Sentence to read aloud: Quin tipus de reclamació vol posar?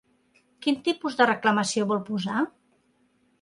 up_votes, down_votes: 3, 0